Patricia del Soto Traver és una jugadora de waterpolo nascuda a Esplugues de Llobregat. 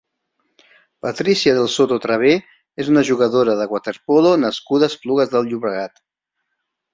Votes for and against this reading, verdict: 2, 1, accepted